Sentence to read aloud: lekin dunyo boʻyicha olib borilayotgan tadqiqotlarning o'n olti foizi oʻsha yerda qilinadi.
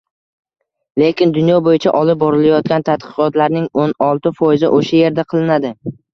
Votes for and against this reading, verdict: 2, 1, accepted